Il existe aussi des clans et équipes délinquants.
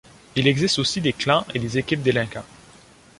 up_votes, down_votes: 1, 2